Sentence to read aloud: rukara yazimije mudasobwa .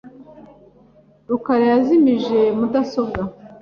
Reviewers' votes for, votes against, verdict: 3, 0, accepted